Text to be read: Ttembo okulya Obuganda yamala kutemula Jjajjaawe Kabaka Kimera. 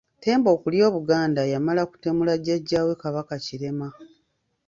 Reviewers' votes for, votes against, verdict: 0, 3, rejected